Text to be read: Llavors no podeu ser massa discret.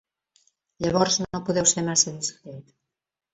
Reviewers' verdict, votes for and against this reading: accepted, 2, 0